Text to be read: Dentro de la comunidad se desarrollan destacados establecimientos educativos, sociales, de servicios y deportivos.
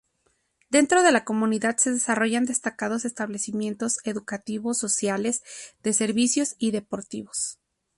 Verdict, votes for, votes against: accepted, 4, 0